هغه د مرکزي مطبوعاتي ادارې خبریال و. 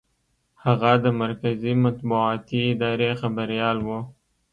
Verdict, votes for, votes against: accepted, 2, 0